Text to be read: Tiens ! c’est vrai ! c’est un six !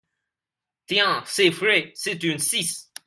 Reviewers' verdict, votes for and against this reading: rejected, 1, 2